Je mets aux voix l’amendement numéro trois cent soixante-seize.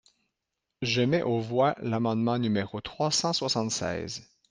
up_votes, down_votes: 2, 0